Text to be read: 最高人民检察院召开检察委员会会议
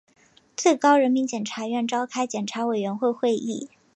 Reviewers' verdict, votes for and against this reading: accepted, 2, 1